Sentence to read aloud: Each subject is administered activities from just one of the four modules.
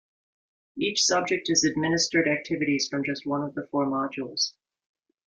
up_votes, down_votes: 2, 0